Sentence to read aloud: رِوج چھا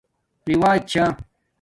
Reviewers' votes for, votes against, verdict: 2, 0, accepted